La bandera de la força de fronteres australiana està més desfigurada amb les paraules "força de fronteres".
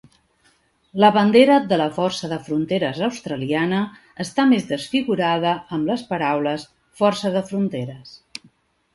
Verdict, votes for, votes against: accepted, 3, 0